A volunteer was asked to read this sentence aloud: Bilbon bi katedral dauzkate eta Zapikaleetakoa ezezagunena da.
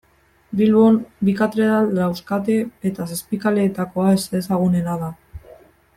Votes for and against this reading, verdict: 1, 2, rejected